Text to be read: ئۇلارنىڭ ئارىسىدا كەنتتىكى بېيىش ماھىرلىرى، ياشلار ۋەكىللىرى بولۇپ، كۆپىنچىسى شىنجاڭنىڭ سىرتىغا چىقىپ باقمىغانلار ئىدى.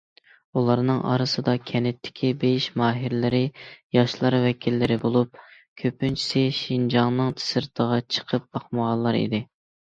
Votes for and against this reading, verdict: 2, 0, accepted